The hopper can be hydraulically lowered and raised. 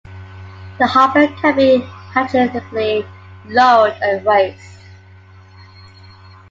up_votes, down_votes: 2, 0